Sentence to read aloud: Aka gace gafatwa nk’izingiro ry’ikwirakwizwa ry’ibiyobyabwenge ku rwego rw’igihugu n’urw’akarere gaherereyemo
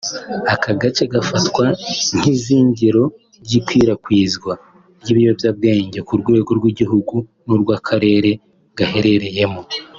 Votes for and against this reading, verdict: 3, 0, accepted